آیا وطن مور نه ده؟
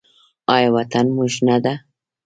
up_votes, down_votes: 1, 2